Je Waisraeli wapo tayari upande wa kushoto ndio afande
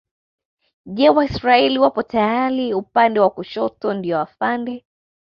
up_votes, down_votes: 0, 2